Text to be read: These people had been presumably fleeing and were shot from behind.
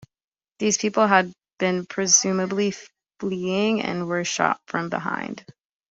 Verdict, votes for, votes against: accepted, 2, 0